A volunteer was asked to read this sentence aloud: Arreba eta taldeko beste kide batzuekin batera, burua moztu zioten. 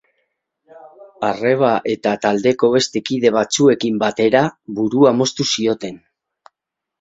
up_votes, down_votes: 2, 2